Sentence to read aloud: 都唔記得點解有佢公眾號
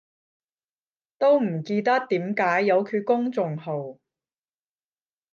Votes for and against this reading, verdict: 5, 10, rejected